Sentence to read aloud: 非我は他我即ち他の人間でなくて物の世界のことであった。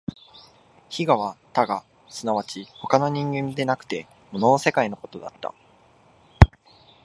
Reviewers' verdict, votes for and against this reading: accepted, 3, 1